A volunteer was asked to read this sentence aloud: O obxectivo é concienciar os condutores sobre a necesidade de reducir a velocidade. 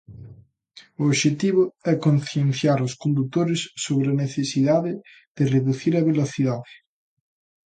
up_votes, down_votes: 2, 0